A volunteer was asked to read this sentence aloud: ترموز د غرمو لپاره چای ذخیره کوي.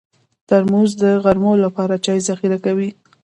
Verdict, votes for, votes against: rejected, 1, 2